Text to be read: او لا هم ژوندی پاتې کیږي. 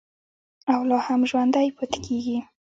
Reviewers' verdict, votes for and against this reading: rejected, 1, 2